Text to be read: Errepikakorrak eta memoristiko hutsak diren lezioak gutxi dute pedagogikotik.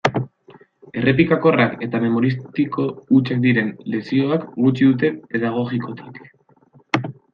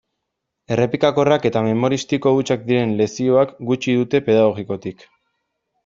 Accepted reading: second